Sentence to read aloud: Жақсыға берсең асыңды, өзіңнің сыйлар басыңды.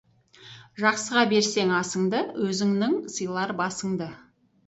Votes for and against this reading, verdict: 2, 2, rejected